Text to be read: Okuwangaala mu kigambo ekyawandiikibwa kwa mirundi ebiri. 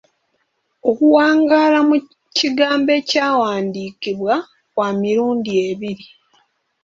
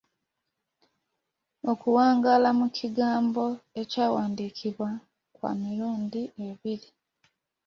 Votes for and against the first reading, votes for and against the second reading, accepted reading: 1, 2, 2, 0, second